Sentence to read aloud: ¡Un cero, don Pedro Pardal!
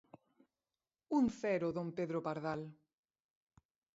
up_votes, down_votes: 2, 9